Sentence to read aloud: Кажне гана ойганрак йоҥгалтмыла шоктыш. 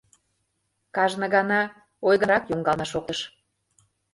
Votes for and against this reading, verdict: 0, 2, rejected